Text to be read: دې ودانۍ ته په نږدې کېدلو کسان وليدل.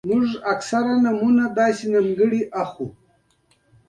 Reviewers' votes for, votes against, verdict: 2, 0, accepted